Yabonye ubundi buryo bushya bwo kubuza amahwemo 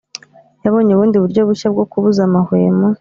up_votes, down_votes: 2, 0